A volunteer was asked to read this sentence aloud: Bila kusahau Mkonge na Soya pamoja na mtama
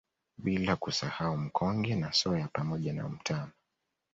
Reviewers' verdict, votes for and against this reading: accepted, 2, 0